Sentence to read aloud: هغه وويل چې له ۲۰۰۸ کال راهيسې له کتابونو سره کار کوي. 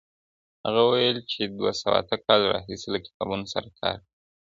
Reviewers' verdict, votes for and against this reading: rejected, 0, 2